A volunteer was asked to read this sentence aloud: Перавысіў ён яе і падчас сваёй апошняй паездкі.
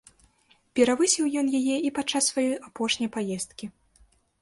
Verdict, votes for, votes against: accepted, 2, 0